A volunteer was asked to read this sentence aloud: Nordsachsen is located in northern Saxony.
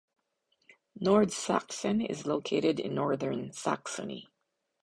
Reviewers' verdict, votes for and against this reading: accepted, 2, 0